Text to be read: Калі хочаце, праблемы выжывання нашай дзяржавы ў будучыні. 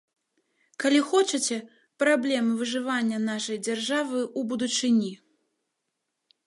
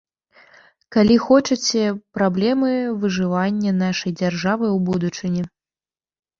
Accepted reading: second